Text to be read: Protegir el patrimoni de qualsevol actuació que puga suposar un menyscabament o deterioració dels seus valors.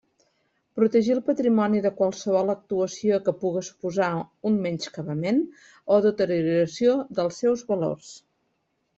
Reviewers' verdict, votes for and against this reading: rejected, 1, 2